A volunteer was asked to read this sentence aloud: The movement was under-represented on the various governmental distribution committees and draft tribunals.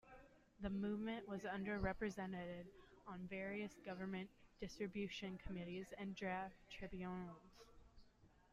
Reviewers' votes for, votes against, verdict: 1, 2, rejected